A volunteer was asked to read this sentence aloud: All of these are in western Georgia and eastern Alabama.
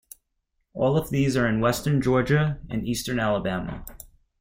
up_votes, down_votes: 2, 0